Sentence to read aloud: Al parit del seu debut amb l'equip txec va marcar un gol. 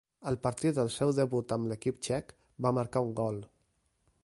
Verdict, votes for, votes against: rejected, 1, 2